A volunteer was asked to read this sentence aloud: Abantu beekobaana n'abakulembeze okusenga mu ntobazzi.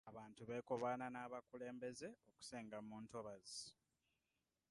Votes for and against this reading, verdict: 1, 2, rejected